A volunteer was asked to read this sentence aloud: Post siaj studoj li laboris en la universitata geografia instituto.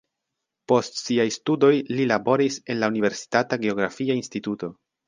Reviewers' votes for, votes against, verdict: 1, 2, rejected